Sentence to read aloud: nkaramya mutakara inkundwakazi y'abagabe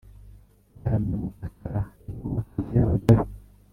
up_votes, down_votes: 1, 2